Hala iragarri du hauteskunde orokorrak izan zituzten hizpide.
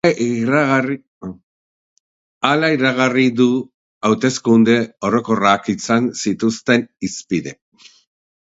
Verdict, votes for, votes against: rejected, 0, 4